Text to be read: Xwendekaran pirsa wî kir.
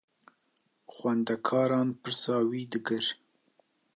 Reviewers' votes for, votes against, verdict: 0, 2, rejected